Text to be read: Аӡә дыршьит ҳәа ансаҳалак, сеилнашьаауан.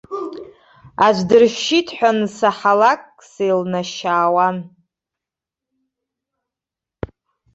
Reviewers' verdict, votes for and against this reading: rejected, 1, 2